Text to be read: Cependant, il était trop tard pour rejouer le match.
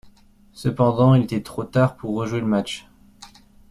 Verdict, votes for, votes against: accepted, 2, 0